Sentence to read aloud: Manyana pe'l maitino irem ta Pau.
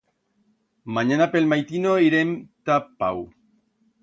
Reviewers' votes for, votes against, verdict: 2, 0, accepted